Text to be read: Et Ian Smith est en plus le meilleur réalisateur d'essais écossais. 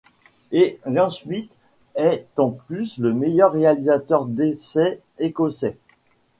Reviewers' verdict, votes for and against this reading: rejected, 1, 2